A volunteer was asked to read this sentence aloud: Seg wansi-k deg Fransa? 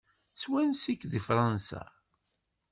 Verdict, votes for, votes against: accepted, 2, 0